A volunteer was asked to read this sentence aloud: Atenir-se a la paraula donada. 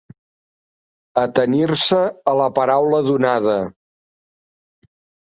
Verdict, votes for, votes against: accepted, 4, 0